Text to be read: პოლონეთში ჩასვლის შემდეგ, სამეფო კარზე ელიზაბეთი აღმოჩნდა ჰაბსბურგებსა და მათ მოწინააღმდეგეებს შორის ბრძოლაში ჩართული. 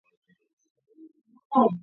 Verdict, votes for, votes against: rejected, 0, 2